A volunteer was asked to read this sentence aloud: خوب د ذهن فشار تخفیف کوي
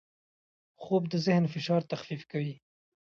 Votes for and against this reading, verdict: 2, 0, accepted